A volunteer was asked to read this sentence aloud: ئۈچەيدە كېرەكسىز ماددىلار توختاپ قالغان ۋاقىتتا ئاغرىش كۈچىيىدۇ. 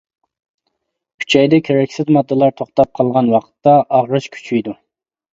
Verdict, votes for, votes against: accepted, 2, 0